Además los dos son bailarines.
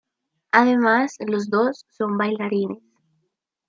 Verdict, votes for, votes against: accepted, 2, 0